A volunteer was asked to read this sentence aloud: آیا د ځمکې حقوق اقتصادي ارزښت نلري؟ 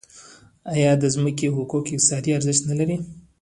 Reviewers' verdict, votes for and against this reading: rejected, 0, 2